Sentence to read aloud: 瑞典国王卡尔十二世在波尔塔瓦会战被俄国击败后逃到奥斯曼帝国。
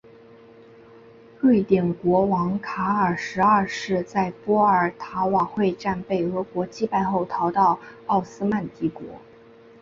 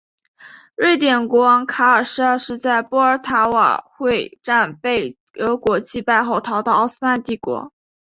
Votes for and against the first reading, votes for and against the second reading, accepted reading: 2, 0, 1, 2, first